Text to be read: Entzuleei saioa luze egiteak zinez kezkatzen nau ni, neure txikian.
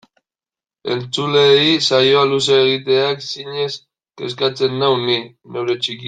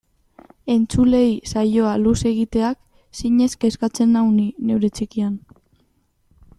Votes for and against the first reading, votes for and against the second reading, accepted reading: 1, 2, 2, 0, second